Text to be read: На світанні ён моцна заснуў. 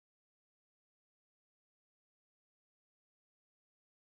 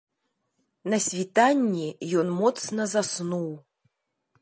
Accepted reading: second